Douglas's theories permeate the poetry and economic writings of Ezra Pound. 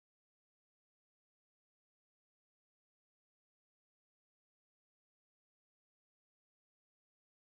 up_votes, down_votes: 0, 2